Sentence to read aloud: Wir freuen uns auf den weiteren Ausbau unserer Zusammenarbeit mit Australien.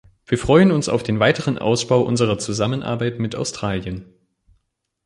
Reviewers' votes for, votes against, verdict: 2, 0, accepted